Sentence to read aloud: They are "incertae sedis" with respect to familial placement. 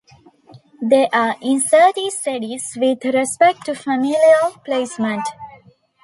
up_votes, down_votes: 2, 0